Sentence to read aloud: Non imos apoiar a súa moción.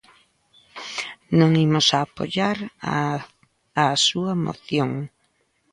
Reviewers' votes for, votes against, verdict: 0, 2, rejected